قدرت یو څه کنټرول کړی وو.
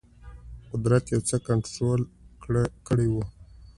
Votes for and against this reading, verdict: 2, 0, accepted